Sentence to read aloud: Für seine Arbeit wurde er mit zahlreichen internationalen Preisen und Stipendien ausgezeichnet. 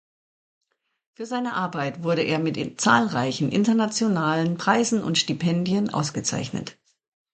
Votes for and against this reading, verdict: 0, 2, rejected